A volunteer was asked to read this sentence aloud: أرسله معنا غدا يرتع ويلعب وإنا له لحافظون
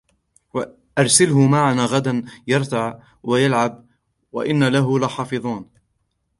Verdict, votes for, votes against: accepted, 2, 0